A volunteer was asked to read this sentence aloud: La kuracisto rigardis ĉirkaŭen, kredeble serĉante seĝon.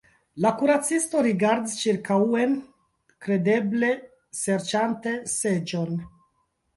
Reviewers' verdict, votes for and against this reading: rejected, 1, 2